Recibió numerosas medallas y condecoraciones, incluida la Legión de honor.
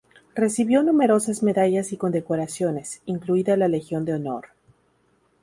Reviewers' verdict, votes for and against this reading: accepted, 2, 0